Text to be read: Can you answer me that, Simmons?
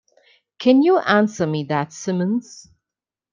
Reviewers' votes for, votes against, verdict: 2, 0, accepted